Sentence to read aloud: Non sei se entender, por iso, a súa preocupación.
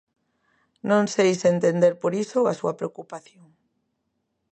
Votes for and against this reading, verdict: 2, 0, accepted